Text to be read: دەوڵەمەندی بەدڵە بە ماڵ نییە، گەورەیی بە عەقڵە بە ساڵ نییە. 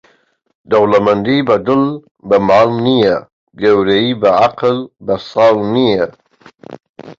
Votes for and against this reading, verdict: 0, 2, rejected